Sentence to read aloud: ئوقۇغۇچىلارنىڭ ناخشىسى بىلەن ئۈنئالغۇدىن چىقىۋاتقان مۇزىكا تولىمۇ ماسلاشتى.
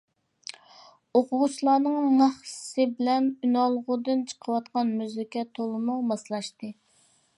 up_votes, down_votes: 2, 1